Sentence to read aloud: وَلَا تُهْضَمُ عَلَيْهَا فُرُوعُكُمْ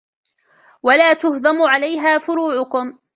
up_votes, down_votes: 2, 0